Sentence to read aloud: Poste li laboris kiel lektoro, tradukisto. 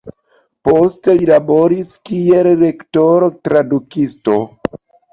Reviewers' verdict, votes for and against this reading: accepted, 2, 0